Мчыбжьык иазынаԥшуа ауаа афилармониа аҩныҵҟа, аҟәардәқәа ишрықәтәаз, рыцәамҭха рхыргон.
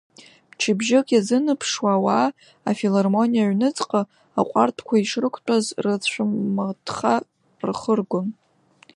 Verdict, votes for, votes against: rejected, 0, 2